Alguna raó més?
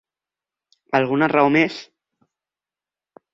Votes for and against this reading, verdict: 4, 2, accepted